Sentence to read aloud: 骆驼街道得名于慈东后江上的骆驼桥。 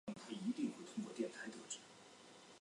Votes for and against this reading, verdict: 0, 5, rejected